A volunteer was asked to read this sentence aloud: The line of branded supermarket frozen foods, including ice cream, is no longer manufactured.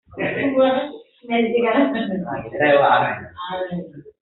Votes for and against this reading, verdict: 0, 2, rejected